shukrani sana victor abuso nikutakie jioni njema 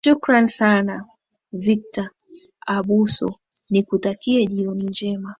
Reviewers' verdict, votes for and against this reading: accepted, 2, 1